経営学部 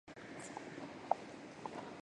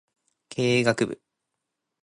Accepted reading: second